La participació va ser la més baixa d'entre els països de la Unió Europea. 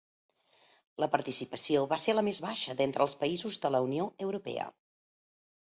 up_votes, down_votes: 2, 0